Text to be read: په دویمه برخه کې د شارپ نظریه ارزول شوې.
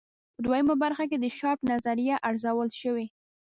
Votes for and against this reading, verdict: 0, 2, rejected